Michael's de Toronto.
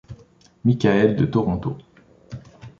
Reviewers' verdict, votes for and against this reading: rejected, 1, 2